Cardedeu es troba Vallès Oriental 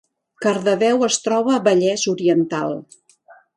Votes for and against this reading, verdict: 2, 0, accepted